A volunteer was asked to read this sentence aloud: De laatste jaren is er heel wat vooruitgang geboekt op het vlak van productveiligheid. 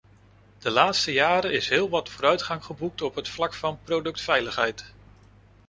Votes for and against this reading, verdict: 0, 2, rejected